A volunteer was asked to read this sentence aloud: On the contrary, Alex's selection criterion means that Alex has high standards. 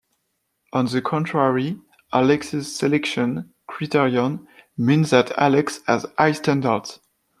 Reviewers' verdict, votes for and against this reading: accepted, 2, 0